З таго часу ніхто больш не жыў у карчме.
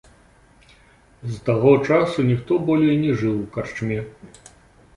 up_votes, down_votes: 1, 2